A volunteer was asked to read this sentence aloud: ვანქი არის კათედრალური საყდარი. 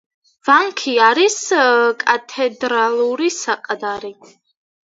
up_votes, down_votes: 1, 2